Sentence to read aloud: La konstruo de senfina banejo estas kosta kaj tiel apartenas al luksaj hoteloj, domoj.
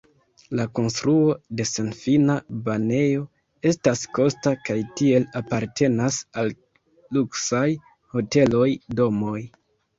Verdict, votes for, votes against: accepted, 2, 0